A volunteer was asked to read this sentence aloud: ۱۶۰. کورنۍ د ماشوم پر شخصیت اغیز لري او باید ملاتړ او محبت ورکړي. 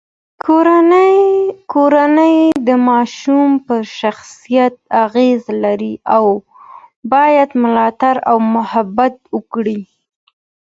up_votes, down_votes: 0, 2